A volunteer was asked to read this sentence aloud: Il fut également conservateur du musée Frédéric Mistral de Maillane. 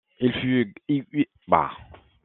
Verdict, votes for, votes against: rejected, 0, 2